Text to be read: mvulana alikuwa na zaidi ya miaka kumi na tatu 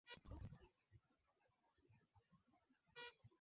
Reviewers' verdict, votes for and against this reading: rejected, 0, 2